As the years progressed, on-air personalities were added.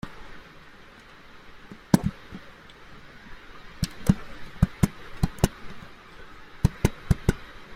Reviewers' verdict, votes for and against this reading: rejected, 1, 2